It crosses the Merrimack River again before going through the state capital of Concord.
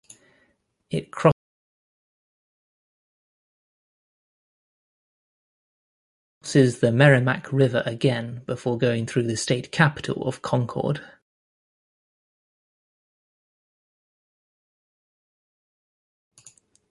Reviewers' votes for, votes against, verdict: 0, 2, rejected